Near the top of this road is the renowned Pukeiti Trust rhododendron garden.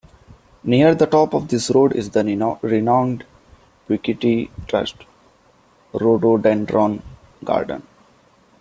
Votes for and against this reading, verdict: 0, 2, rejected